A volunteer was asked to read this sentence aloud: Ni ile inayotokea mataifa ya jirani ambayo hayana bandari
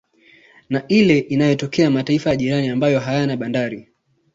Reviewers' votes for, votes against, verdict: 2, 0, accepted